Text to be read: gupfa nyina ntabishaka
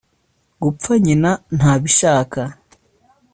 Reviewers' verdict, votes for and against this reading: accepted, 2, 0